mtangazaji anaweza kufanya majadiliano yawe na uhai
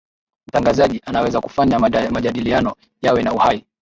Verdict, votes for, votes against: rejected, 0, 2